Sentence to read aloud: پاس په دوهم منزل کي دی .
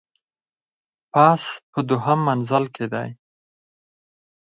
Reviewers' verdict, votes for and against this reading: accepted, 4, 0